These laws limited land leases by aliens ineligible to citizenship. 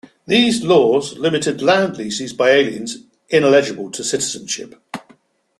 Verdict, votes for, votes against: accepted, 2, 1